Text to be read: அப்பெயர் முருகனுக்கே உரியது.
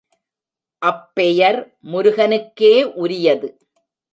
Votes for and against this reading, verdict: 2, 0, accepted